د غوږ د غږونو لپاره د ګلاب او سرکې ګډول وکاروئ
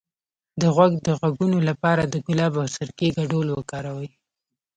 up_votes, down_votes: 2, 0